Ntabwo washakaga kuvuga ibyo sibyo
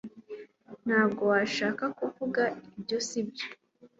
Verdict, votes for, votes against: accepted, 2, 1